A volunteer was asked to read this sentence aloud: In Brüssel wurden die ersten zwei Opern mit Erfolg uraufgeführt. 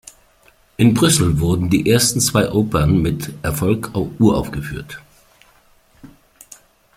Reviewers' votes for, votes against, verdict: 0, 2, rejected